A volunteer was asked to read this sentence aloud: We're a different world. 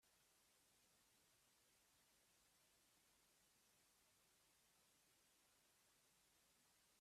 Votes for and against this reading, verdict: 0, 3, rejected